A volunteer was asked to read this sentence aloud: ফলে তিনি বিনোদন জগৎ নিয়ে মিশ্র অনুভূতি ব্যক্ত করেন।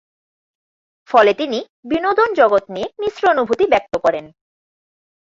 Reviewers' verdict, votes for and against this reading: rejected, 0, 2